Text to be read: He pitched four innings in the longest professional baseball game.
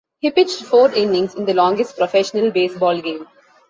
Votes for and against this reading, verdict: 2, 0, accepted